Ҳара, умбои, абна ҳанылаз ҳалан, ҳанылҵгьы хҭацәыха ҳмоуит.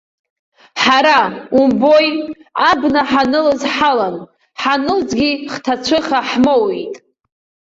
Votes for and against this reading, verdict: 1, 2, rejected